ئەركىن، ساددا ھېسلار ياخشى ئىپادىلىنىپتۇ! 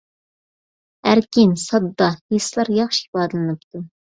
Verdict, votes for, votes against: accepted, 2, 0